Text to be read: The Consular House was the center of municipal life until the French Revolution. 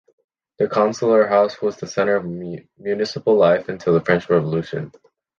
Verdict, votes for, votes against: rejected, 0, 2